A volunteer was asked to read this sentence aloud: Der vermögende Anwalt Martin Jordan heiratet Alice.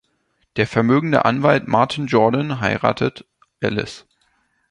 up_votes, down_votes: 2, 0